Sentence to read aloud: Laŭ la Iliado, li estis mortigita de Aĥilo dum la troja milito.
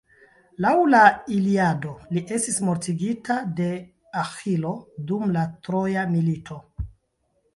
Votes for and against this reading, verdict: 1, 2, rejected